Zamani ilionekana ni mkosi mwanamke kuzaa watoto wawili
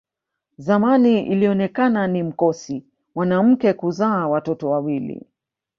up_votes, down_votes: 2, 1